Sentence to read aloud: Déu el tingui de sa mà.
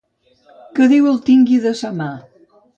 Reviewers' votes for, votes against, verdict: 0, 2, rejected